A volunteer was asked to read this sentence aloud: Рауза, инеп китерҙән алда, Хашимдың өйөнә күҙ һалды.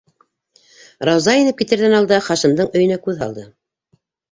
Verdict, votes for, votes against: accepted, 2, 0